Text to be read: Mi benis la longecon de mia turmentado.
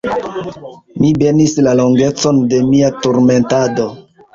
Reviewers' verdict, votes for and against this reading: rejected, 1, 2